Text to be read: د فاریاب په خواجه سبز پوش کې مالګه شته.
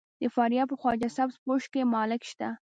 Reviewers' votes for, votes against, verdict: 2, 1, accepted